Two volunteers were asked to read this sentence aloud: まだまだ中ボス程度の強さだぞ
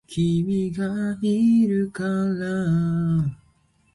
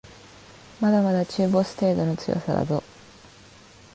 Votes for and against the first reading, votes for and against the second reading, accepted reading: 0, 2, 2, 0, second